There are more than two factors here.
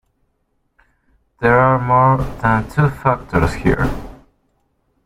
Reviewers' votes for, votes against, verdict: 1, 2, rejected